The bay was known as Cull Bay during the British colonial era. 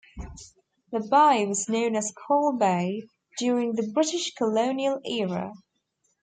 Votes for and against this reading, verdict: 2, 0, accepted